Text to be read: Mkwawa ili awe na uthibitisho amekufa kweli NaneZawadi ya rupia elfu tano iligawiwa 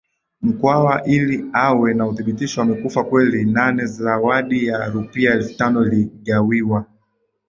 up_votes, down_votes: 8, 0